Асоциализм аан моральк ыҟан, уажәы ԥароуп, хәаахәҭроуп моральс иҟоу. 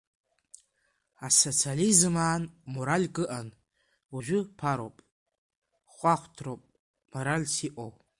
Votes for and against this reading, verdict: 2, 0, accepted